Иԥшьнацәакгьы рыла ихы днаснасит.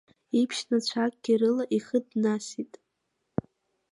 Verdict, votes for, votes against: rejected, 1, 2